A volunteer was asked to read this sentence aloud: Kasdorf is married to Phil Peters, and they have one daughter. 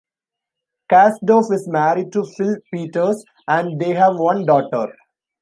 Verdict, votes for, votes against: accepted, 2, 0